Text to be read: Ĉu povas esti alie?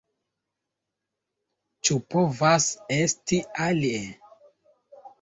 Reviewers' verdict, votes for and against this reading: accepted, 2, 0